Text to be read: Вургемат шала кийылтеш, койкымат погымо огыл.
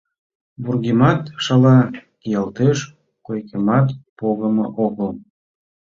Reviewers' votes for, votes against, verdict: 2, 0, accepted